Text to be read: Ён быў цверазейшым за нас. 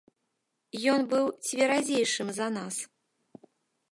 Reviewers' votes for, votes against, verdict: 1, 2, rejected